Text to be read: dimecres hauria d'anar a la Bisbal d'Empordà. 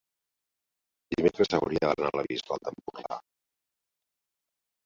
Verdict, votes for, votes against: accepted, 2, 1